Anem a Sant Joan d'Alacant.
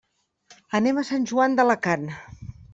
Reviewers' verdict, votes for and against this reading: accepted, 2, 0